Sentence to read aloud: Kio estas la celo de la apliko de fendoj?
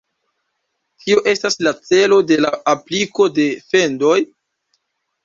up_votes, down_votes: 2, 0